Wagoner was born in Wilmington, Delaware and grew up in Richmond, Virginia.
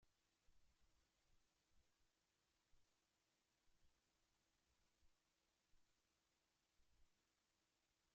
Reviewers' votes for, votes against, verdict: 0, 2, rejected